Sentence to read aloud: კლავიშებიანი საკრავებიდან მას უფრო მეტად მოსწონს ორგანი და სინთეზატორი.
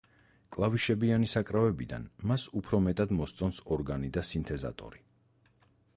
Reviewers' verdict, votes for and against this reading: accepted, 4, 0